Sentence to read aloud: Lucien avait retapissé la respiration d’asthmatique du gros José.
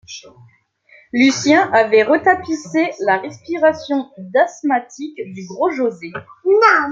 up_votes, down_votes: 1, 2